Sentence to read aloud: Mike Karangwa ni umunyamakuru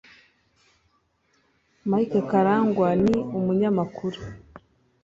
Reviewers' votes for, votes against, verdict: 4, 0, accepted